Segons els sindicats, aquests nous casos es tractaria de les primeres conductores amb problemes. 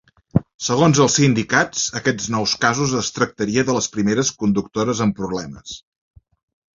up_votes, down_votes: 3, 0